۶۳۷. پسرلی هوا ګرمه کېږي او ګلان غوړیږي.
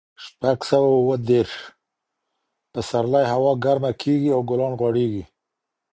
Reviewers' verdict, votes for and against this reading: rejected, 0, 2